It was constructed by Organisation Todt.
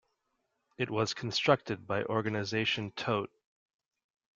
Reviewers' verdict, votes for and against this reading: accepted, 2, 0